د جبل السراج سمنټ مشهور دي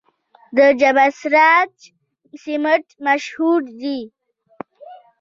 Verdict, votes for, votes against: rejected, 0, 2